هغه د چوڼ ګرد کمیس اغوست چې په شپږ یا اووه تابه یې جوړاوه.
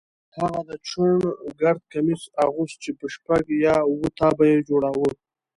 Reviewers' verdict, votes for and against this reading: accepted, 3, 1